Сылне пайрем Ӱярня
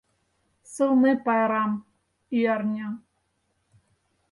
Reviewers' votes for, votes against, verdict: 0, 4, rejected